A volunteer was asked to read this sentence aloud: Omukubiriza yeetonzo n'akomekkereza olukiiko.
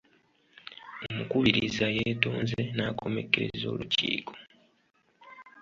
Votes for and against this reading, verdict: 1, 2, rejected